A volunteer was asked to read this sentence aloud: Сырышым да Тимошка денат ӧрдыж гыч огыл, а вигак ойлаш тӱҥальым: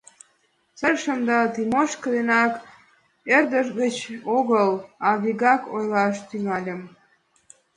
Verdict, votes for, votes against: rejected, 0, 2